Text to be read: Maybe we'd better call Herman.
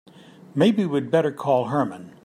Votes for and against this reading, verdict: 2, 0, accepted